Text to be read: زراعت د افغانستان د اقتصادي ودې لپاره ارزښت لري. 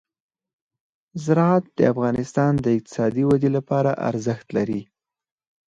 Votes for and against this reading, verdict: 4, 0, accepted